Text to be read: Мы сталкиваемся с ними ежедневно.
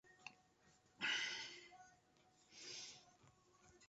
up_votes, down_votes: 0, 2